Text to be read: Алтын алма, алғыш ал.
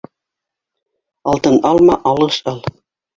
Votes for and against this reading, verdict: 0, 2, rejected